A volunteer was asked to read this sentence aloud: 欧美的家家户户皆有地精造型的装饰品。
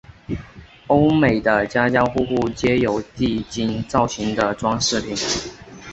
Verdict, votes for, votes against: accepted, 4, 0